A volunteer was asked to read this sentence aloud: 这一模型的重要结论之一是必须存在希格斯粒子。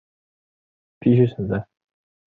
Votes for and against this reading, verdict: 0, 3, rejected